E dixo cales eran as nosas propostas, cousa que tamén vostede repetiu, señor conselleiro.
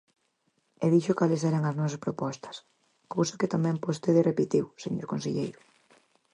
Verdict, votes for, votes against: accepted, 4, 0